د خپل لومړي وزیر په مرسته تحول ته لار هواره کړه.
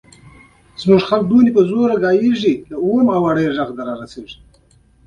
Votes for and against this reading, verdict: 3, 0, accepted